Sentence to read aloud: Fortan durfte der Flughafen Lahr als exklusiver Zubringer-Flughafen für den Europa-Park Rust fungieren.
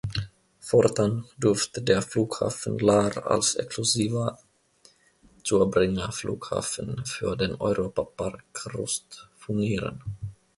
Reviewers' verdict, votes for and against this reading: rejected, 0, 2